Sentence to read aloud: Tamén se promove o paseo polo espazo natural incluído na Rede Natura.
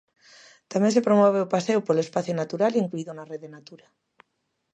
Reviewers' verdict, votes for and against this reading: accepted, 2, 0